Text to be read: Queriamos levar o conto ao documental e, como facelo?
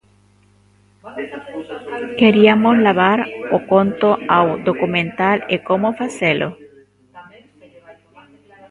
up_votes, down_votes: 0, 2